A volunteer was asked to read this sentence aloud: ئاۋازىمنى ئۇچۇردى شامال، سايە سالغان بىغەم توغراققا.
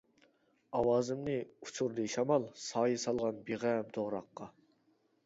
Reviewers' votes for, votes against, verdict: 2, 0, accepted